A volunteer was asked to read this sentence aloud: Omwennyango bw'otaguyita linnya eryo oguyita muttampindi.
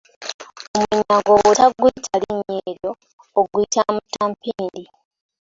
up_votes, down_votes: 0, 2